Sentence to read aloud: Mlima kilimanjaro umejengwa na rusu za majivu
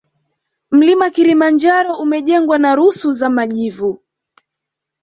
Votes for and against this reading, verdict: 1, 2, rejected